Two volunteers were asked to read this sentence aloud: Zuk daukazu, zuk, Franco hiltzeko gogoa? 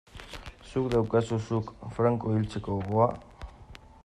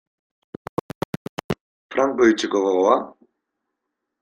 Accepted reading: first